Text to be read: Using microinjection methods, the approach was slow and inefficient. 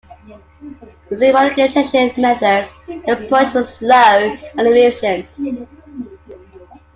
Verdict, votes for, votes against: rejected, 0, 2